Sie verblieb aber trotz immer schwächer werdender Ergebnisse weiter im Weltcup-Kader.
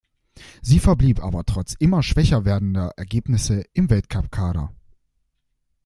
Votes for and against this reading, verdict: 1, 2, rejected